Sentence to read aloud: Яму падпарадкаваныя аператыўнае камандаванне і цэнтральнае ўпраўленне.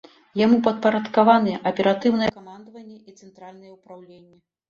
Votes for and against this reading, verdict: 2, 0, accepted